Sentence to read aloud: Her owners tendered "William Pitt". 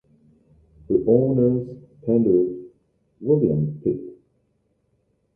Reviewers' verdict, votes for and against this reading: rejected, 0, 2